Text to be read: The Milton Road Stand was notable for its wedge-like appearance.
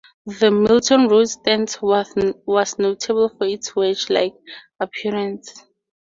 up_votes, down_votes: 2, 2